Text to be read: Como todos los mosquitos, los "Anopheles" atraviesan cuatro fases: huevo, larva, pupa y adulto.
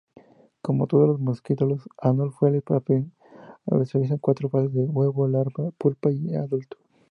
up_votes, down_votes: 2, 2